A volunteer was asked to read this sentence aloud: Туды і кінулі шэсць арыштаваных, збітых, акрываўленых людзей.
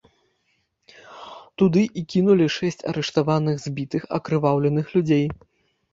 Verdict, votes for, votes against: accepted, 2, 1